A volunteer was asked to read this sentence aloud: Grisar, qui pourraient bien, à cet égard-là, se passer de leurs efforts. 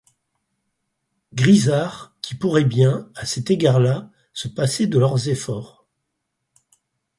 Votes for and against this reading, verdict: 4, 0, accepted